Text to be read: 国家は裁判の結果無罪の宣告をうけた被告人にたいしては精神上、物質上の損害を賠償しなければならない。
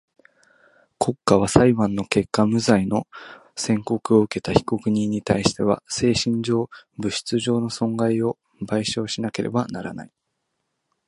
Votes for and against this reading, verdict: 1, 2, rejected